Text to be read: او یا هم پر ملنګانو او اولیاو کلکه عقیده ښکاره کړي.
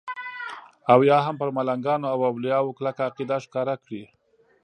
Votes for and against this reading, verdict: 2, 0, accepted